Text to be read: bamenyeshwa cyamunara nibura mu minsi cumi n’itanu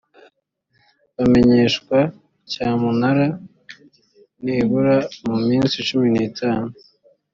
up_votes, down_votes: 3, 0